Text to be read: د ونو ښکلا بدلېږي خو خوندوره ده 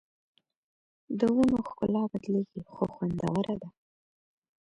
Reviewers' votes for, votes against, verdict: 2, 0, accepted